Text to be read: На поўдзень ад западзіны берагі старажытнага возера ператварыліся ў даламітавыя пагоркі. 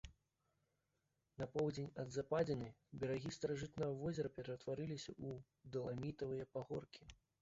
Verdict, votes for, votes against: rejected, 0, 2